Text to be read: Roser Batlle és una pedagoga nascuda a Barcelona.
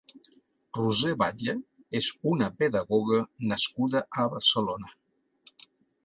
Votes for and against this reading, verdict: 2, 0, accepted